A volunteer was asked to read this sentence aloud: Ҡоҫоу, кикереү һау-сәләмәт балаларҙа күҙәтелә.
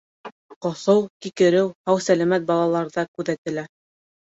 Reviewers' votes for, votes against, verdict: 3, 0, accepted